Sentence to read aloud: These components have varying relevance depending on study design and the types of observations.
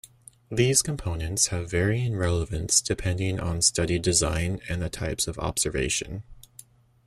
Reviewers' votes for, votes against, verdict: 1, 2, rejected